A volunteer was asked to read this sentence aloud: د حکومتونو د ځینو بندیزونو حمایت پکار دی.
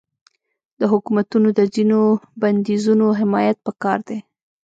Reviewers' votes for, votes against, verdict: 0, 2, rejected